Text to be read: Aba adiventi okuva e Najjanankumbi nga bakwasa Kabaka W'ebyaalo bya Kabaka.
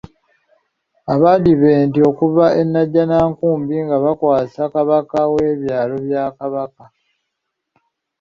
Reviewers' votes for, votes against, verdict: 2, 0, accepted